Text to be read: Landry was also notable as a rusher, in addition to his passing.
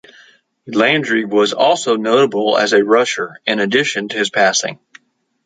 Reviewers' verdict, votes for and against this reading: accepted, 2, 0